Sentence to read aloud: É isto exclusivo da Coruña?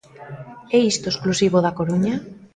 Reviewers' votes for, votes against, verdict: 2, 0, accepted